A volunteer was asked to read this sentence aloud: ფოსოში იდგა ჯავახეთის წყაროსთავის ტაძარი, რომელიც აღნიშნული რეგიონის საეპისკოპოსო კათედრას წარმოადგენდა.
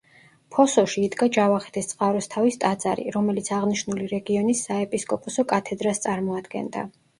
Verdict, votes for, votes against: accepted, 2, 0